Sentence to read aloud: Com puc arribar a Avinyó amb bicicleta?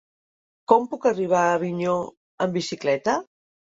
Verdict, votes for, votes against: accepted, 3, 0